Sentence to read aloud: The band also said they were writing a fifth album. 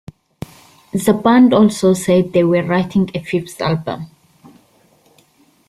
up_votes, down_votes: 2, 0